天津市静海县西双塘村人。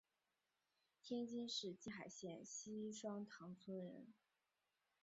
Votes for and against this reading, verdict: 4, 2, accepted